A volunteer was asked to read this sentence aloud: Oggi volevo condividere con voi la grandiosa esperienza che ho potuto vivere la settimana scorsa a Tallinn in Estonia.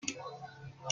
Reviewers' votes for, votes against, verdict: 0, 2, rejected